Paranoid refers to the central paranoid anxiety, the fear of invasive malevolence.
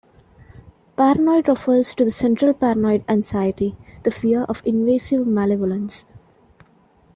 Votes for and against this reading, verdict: 0, 2, rejected